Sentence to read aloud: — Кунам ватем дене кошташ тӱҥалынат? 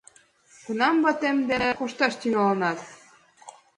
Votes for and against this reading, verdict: 2, 0, accepted